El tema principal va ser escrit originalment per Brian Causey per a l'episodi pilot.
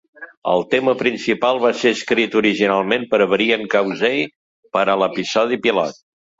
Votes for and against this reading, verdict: 1, 2, rejected